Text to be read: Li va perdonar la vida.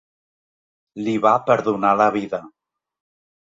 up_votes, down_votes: 2, 0